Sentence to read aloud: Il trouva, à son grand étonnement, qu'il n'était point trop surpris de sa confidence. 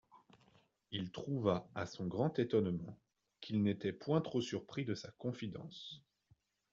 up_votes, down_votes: 2, 1